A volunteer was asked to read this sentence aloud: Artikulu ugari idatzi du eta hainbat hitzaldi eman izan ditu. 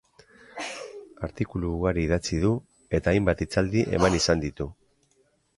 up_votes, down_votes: 1, 2